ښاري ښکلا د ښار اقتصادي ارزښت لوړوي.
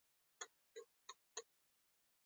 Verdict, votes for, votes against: accepted, 2, 1